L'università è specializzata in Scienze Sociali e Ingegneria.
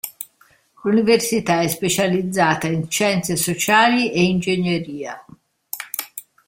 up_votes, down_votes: 1, 2